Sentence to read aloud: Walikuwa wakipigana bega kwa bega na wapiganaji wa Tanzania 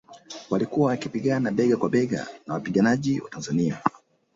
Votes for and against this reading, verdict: 0, 2, rejected